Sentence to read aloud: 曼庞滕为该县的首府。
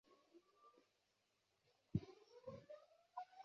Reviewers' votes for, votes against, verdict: 0, 4, rejected